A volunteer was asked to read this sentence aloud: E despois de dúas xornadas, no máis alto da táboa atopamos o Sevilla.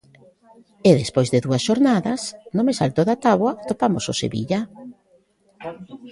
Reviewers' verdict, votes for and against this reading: rejected, 1, 2